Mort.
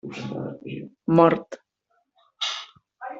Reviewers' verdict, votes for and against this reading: rejected, 1, 3